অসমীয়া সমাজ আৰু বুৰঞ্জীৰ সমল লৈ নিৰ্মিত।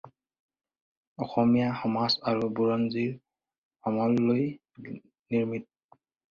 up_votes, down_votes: 2, 2